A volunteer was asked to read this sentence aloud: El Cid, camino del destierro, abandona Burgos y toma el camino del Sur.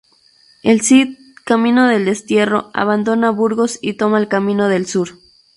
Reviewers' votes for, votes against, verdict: 2, 0, accepted